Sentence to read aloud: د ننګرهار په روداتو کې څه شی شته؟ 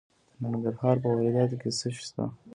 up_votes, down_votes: 2, 0